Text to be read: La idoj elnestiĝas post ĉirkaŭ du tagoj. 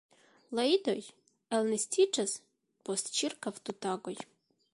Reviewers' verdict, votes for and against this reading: accepted, 2, 0